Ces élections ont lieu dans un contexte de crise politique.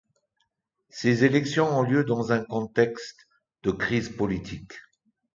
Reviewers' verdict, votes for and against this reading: accepted, 2, 0